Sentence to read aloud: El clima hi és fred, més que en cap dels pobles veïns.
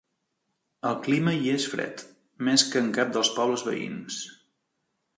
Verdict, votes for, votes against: accepted, 2, 0